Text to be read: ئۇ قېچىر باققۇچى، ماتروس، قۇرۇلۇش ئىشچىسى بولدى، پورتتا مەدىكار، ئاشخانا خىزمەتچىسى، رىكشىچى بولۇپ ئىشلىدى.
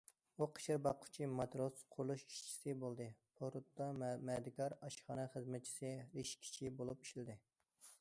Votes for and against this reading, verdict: 0, 2, rejected